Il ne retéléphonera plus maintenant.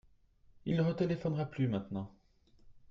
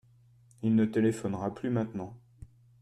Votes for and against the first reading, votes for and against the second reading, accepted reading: 2, 0, 0, 2, first